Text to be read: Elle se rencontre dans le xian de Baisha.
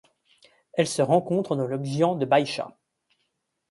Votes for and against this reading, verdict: 2, 0, accepted